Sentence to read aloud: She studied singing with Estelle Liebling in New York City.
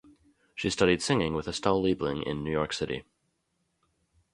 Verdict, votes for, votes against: accepted, 2, 0